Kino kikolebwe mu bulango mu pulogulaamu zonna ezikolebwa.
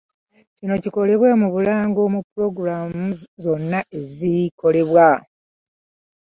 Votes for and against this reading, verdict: 1, 2, rejected